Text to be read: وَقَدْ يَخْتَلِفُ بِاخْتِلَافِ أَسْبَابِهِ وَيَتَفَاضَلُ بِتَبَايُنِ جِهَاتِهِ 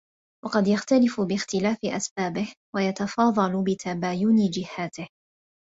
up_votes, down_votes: 2, 0